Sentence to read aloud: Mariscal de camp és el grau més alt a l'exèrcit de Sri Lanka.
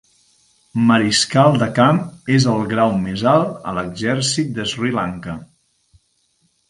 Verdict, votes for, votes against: accepted, 3, 0